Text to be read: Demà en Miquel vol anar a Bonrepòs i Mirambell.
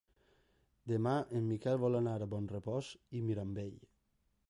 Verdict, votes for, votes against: accepted, 2, 0